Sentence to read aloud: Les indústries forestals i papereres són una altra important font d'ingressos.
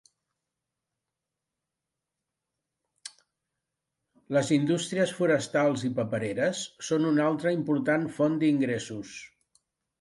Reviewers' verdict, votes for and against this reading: rejected, 1, 2